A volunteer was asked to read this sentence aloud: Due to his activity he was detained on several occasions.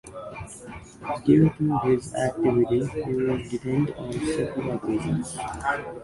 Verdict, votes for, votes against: accepted, 2, 1